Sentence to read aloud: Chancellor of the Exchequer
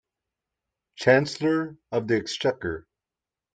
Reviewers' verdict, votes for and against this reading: accepted, 2, 0